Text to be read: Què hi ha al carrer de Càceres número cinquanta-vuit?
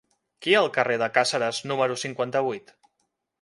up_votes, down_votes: 3, 0